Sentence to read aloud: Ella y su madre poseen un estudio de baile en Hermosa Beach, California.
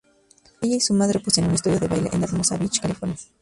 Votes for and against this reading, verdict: 0, 2, rejected